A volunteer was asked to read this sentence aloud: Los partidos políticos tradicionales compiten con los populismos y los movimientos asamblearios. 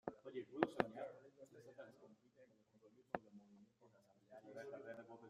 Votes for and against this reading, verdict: 0, 2, rejected